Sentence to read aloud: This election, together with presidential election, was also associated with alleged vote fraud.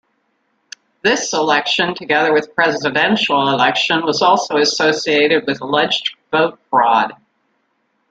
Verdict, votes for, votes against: accepted, 2, 0